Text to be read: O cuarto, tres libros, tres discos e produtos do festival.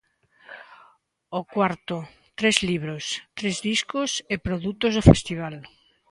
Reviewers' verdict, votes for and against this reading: accepted, 2, 0